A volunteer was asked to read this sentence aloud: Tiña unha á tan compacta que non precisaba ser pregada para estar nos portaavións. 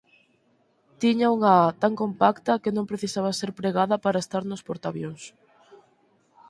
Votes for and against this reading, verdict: 4, 2, accepted